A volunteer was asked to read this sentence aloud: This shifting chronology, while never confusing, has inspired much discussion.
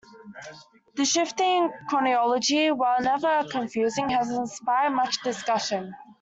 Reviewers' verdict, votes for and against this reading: rejected, 0, 3